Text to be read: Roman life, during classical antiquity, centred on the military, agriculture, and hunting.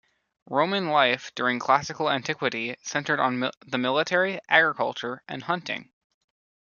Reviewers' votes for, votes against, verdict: 0, 2, rejected